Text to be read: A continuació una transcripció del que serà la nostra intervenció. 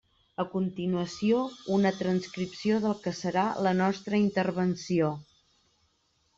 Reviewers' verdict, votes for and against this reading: accepted, 3, 0